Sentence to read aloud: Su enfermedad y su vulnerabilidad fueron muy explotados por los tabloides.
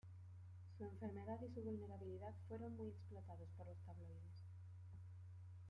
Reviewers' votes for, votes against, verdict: 0, 2, rejected